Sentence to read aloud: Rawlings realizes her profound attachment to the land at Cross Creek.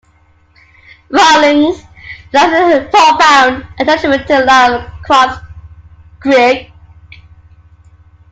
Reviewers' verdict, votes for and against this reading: rejected, 0, 2